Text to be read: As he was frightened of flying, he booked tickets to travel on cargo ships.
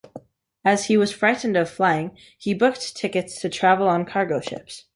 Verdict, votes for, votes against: accepted, 2, 0